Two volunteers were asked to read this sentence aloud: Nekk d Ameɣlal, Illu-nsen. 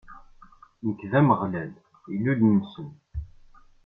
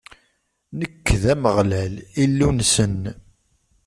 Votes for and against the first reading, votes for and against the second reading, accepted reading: 0, 2, 2, 0, second